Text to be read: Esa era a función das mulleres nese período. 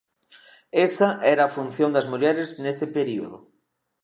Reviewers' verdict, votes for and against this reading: rejected, 0, 2